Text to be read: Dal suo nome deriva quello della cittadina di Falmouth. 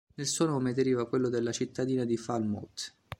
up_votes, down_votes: 0, 2